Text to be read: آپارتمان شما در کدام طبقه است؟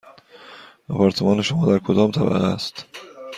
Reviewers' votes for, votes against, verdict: 2, 0, accepted